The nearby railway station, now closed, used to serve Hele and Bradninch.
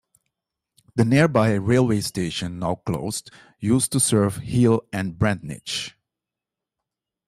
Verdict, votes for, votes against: accepted, 2, 1